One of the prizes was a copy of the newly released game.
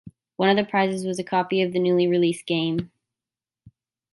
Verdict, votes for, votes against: accepted, 2, 0